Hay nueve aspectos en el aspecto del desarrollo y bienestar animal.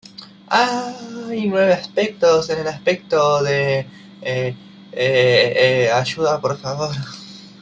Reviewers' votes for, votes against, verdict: 0, 2, rejected